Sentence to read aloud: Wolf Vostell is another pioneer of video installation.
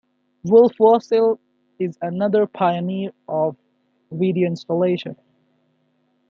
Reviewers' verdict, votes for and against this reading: accepted, 2, 0